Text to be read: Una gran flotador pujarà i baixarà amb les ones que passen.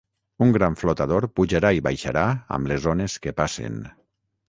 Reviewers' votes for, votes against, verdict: 3, 3, rejected